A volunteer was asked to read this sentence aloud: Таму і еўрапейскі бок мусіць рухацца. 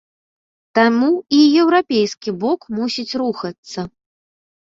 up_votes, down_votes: 2, 0